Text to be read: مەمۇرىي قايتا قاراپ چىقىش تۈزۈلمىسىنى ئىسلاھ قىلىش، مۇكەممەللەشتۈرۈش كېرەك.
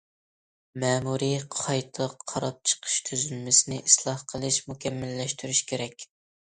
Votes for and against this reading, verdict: 2, 0, accepted